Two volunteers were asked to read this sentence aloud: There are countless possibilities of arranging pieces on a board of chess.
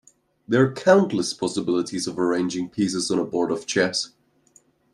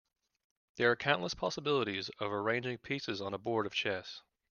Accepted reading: second